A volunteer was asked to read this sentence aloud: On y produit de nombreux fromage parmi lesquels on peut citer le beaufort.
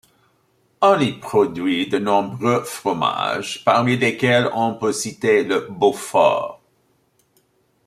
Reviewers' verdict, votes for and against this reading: accepted, 2, 0